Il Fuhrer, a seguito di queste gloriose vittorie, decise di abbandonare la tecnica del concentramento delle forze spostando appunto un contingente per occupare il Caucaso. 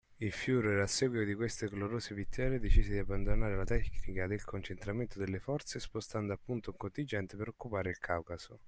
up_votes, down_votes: 2, 0